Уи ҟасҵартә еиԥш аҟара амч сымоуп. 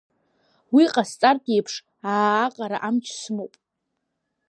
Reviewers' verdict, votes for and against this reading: rejected, 1, 2